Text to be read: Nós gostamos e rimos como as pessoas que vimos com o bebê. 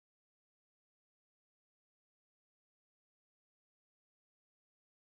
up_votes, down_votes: 0, 2